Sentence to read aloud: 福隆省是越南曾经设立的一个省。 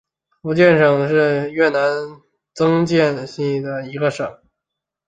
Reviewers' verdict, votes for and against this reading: accepted, 2, 1